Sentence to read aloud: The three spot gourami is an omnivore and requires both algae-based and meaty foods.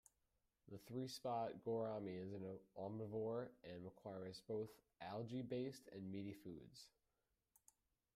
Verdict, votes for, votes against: rejected, 1, 2